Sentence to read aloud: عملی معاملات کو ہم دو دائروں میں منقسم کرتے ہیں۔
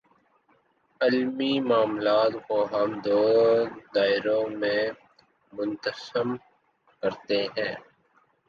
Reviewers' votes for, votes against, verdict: 0, 2, rejected